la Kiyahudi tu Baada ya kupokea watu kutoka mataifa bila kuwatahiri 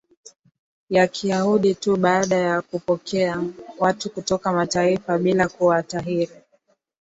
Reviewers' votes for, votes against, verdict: 2, 0, accepted